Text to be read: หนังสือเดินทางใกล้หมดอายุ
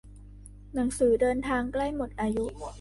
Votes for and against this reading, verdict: 1, 2, rejected